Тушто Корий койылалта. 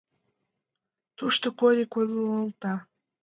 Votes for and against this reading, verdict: 1, 2, rejected